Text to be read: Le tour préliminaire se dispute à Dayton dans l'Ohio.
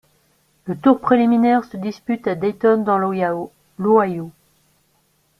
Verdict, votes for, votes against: rejected, 0, 3